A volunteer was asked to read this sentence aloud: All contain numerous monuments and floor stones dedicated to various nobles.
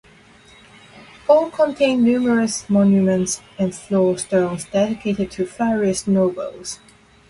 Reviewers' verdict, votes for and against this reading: accepted, 2, 0